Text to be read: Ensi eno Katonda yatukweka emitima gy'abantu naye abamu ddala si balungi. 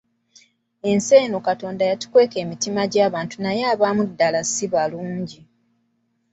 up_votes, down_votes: 2, 0